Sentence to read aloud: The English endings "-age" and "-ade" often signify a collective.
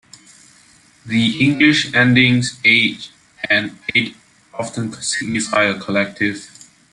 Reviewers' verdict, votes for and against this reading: rejected, 0, 2